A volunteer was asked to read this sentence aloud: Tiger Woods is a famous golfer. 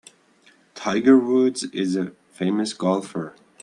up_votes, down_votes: 2, 0